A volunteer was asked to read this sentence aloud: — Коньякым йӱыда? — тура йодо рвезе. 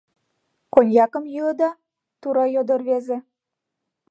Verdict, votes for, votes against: accepted, 2, 0